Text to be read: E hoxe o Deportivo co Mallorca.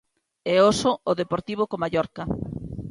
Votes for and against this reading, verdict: 0, 3, rejected